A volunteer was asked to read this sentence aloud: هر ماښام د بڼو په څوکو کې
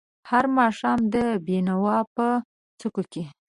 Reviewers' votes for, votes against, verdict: 0, 2, rejected